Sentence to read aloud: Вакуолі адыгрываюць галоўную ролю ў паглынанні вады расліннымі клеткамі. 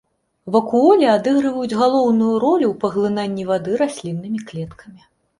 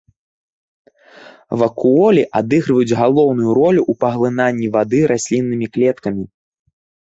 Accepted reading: second